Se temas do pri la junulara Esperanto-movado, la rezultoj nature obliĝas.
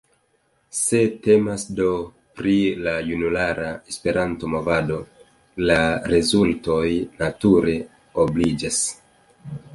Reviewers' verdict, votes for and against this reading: accepted, 2, 0